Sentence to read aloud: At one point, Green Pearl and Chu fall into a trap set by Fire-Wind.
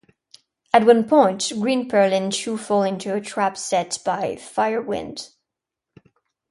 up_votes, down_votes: 2, 0